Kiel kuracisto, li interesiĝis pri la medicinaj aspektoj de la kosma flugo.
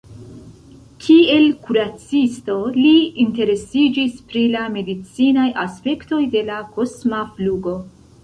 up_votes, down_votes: 1, 2